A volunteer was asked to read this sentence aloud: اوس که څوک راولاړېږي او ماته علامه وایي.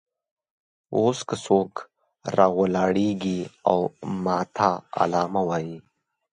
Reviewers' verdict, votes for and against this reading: accepted, 2, 0